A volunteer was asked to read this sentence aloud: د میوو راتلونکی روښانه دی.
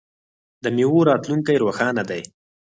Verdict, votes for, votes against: accepted, 4, 0